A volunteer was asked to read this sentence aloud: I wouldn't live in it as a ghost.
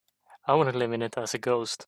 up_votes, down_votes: 2, 0